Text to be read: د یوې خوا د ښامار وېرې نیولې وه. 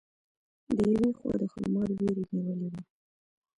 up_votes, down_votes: 2, 1